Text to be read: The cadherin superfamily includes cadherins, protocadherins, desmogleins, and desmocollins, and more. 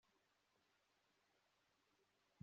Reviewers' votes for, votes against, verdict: 0, 2, rejected